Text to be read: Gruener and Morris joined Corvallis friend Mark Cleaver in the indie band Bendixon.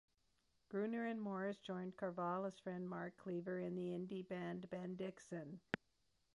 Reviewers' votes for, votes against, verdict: 2, 0, accepted